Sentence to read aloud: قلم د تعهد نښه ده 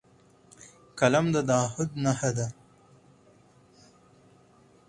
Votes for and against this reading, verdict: 4, 0, accepted